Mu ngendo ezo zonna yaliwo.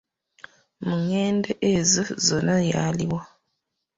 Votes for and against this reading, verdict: 2, 1, accepted